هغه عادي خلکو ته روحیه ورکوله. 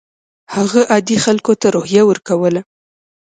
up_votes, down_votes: 2, 0